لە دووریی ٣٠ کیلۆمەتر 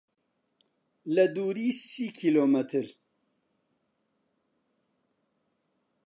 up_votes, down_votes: 0, 2